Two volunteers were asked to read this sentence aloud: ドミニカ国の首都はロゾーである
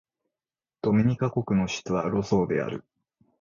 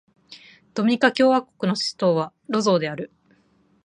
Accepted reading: first